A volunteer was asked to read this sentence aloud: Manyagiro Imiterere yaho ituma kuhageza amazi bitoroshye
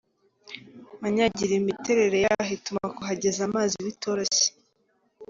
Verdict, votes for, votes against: accepted, 2, 1